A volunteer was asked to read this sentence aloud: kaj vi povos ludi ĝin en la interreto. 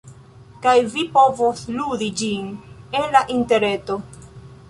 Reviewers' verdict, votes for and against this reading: accepted, 2, 0